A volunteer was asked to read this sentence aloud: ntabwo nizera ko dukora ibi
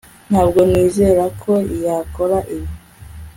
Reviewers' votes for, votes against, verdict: 1, 2, rejected